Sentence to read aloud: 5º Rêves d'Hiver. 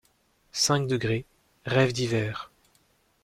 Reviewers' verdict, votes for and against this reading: rejected, 0, 2